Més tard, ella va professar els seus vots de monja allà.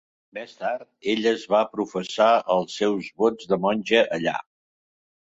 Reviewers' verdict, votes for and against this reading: rejected, 0, 2